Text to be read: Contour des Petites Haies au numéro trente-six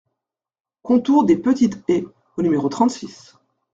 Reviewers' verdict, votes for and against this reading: rejected, 1, 2